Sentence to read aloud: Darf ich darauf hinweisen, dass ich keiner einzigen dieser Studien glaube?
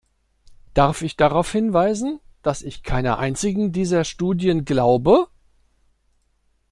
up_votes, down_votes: 2, 0